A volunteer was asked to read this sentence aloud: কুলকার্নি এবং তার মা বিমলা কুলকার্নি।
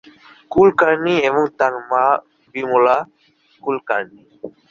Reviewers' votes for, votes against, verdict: 17, 6, accepted